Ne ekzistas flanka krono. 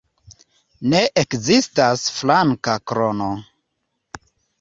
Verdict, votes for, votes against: accepted, 2, 0